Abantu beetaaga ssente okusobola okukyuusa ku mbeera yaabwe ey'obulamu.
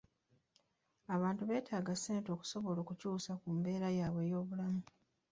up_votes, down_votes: 2, 0